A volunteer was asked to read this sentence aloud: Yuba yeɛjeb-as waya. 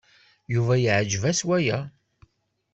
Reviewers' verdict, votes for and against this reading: accepted, 2, 0